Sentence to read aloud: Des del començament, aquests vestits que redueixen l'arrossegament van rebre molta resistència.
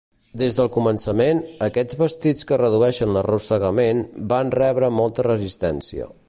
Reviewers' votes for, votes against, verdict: 2, 0, accepted